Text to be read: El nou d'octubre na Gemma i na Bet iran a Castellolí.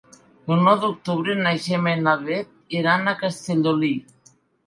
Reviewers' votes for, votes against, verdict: 2, 1, accepted